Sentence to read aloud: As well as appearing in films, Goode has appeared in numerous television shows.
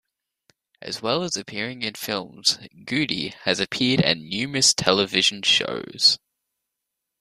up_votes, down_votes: 2, 0